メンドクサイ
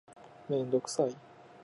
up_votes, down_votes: 2, 0